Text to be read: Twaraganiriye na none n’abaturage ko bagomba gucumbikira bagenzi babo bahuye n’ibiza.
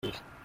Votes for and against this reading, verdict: 0, 2, rejected